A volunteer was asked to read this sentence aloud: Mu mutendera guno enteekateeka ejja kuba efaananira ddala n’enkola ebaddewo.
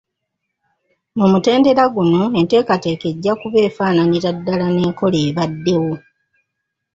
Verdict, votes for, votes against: accepted, 2, 1